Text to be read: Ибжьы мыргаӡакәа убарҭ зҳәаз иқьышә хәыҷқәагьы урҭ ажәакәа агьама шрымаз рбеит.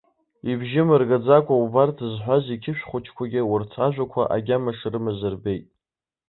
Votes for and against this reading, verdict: 0, 2, rejected